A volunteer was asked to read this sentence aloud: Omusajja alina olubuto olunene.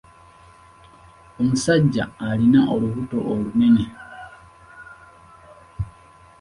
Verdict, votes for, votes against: rejected, 1, 2